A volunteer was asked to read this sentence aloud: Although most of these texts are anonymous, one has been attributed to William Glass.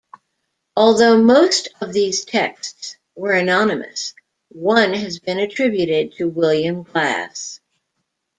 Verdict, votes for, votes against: rejected, 0, 2